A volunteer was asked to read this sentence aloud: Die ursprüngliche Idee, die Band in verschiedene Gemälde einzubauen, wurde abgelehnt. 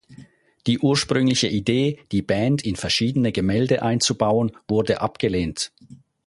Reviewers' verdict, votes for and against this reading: accepted, 4, 0